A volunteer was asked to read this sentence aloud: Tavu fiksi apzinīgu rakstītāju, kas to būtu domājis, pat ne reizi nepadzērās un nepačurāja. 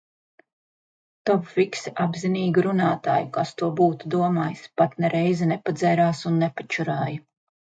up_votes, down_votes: 0, 2